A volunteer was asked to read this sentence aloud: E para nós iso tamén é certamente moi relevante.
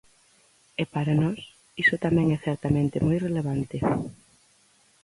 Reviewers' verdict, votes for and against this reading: accepted, 4, 0